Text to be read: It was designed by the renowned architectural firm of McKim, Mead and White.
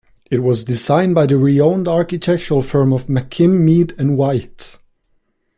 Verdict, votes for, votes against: rejected, 0, 2